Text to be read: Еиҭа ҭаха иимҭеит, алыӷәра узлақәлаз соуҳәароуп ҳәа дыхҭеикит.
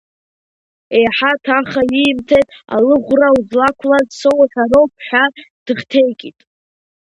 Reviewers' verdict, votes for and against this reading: rejected, 0, 2